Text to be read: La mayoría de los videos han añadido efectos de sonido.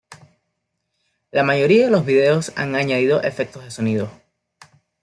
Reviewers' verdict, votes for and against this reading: accepted, 2, 0